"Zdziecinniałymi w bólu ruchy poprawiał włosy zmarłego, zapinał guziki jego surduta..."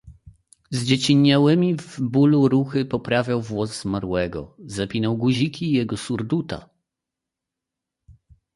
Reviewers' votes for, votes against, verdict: 0, 2, rejected